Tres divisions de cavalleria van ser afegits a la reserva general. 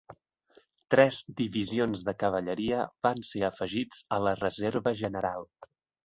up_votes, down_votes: 2, 0